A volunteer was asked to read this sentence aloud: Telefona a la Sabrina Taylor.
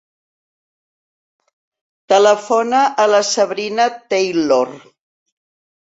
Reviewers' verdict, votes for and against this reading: accepted, 3, 0